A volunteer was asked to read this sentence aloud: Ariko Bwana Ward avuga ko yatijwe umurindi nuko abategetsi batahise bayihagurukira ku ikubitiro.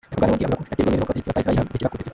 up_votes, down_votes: 0, 2